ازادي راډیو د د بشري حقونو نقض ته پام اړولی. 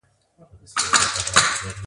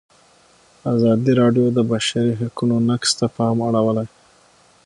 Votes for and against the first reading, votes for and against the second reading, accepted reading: 0, 2, 6, 0, second